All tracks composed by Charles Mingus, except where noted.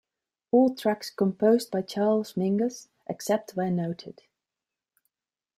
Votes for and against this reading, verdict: 2, 0, accepted